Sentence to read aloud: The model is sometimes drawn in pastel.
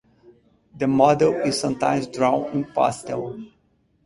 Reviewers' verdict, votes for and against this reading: accepted, 4, 0